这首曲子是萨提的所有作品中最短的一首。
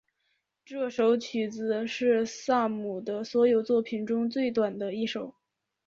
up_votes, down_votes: 2, 1